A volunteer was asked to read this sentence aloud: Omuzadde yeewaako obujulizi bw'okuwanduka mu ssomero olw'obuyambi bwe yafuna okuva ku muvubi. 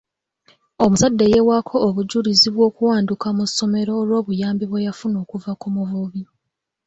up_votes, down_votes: 3, 0